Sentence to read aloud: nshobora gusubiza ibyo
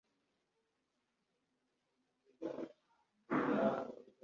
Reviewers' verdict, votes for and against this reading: rejected, 1, 2